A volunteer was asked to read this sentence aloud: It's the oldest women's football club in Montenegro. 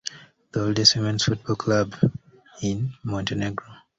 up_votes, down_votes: 1, 2